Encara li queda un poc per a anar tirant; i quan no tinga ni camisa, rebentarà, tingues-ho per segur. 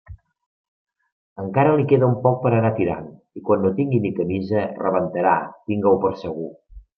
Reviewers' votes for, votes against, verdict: 1, 2, rejected